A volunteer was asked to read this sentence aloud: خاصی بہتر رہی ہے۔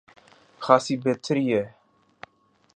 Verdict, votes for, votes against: accepted, 7, 1